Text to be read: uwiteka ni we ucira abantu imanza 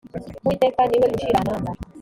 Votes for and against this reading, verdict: 1, 2, rejected